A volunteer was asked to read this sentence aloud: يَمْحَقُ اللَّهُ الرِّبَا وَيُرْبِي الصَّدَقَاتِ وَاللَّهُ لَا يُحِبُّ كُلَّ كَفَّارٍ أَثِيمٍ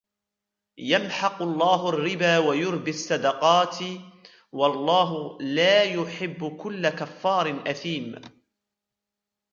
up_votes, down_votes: 1, 2